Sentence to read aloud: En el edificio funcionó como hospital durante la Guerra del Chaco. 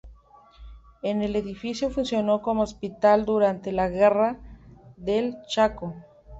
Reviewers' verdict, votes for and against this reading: rejected, 0, 2